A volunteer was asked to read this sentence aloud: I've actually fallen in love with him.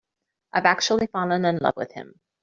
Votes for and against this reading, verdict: 1, 2, rejected